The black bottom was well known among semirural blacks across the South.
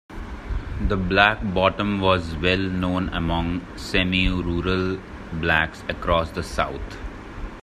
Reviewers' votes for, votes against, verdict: 2, 0, accepted